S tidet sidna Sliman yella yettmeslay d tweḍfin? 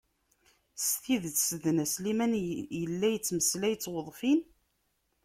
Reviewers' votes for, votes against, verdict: 1, 2, rejected